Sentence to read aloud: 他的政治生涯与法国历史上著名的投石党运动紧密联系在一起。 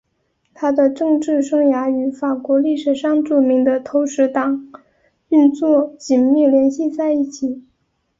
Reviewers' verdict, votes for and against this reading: rejected, 0, 2